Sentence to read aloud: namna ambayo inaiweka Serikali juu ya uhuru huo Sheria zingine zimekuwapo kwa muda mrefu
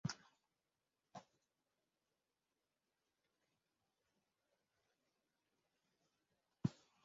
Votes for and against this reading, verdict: 0, 3, rejected